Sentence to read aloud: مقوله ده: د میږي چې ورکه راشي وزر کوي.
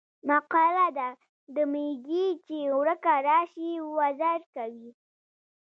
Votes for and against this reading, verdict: 2, 1, accepted